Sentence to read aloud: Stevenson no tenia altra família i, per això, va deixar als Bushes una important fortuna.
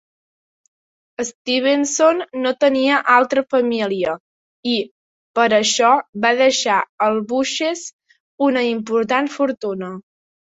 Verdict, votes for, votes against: rejected, 1, 2